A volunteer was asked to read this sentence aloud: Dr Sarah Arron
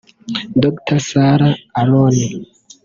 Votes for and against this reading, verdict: 0, 2, rejected